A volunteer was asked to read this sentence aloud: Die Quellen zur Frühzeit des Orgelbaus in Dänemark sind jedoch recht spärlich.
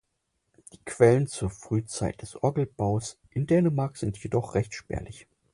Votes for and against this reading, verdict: 6, 0, accepted